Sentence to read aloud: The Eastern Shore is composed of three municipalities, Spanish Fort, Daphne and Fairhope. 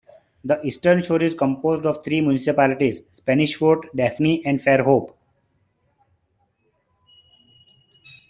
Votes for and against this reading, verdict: 0, 2, rejected